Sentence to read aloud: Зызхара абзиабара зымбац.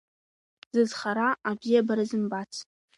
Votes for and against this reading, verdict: 2, 0, accepted